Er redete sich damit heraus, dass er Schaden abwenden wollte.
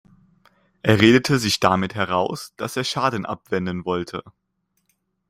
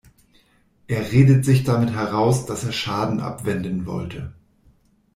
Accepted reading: first